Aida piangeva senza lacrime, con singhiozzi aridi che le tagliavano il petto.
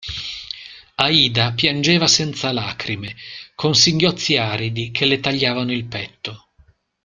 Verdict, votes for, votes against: accepted, 2, 0